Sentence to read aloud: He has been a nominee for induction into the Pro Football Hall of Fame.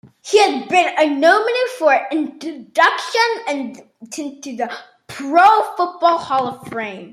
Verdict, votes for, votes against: accepted, 2, 1